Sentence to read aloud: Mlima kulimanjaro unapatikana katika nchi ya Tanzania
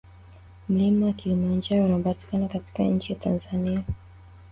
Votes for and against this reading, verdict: 2, 1, accepted